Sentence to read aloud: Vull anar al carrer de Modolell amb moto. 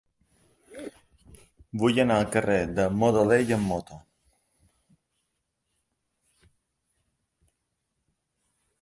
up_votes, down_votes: 2, 0